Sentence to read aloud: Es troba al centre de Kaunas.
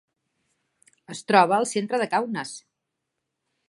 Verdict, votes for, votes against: accepted, 3, 0